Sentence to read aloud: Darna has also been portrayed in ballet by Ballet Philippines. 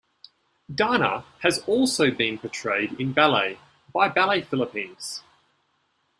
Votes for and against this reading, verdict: 2, 0, accepted